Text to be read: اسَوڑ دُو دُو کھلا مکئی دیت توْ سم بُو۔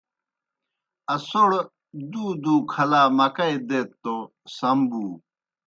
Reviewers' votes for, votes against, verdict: 2, 0, accepted